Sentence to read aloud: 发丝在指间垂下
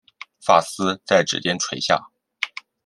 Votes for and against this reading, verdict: 2, 0, accepted